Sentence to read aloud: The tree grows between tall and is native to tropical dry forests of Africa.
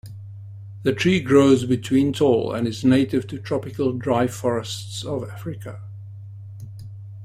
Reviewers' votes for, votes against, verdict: 2, 1, accepted